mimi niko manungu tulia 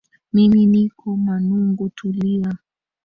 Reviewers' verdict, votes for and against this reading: rejected, 0, 2